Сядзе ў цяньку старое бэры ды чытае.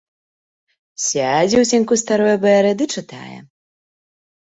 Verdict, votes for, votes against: accepted, 2, 0